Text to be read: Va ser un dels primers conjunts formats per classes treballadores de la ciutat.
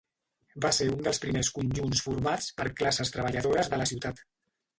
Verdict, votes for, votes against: rejected, 1, 2